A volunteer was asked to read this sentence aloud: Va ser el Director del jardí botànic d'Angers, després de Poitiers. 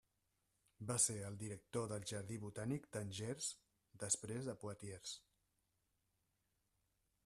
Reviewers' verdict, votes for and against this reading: rejected, 1, 2